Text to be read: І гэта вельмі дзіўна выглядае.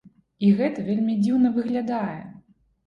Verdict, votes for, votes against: accepted, 2, 0